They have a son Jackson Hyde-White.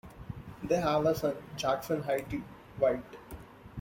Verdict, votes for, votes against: accepted, 2, 0